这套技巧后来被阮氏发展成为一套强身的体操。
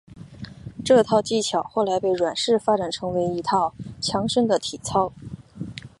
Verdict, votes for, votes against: accepted, 3, 0